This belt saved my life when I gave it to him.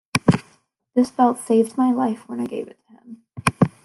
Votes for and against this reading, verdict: 2, 1, accepted